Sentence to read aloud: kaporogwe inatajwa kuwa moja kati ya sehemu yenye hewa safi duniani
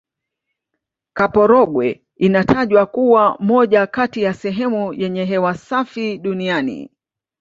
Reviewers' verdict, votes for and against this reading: accepted, 2, 0